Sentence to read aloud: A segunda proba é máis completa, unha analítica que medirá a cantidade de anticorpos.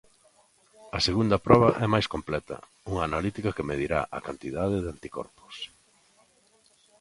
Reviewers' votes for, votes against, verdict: 2, 1, accepted